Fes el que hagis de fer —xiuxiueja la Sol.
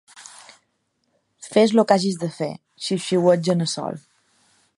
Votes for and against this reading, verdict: 0, 2, rejected